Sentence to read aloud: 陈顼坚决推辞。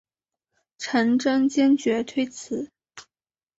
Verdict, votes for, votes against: accepted, 2, 0